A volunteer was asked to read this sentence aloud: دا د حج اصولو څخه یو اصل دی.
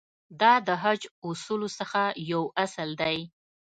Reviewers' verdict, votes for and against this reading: accepted, 2, 0